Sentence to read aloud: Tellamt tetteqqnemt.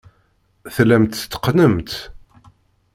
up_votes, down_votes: 1, 2